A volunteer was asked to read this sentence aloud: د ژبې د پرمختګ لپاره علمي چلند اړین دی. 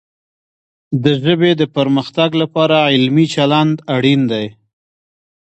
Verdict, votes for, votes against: accepted, 2, 0